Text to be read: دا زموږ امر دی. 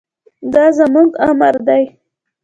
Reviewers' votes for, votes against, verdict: 1, 2, rejected